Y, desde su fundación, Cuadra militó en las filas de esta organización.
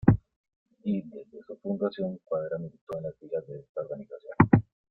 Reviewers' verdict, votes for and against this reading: rejected, 1, 2